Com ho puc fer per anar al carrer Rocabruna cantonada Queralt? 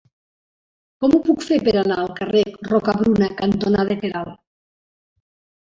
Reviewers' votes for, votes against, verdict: 1, 2, rejected